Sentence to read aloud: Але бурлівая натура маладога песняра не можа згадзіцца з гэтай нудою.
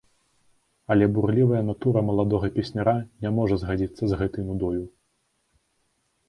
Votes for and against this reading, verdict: 2, 0, accepted